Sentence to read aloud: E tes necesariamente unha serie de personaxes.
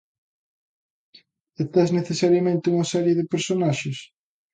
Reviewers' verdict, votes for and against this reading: accepted, 2, 0